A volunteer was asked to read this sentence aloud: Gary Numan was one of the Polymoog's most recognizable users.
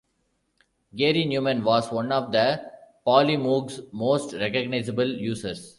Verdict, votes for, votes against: accepted, 2, 0